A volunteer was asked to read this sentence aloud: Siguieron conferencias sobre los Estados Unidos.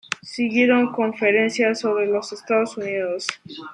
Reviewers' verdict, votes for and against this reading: accepted, 2, 0